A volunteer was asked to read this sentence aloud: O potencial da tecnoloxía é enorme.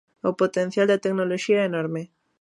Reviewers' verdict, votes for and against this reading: accepted, 2, 0